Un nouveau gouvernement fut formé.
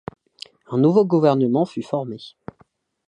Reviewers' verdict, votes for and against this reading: accepted, 2, 0